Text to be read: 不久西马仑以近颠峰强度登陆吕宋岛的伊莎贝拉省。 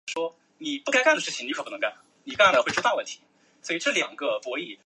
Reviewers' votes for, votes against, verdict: 0, 3, rejected